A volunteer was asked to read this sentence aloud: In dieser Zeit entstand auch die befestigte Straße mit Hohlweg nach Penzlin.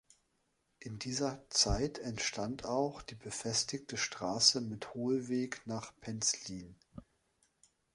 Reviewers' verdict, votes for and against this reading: accepted, 3, 0